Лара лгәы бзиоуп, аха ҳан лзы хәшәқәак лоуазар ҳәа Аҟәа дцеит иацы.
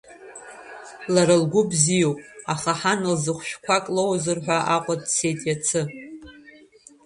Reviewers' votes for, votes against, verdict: 2, 1, accepted